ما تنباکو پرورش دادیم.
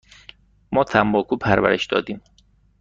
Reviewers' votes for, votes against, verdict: 2, 0, accepted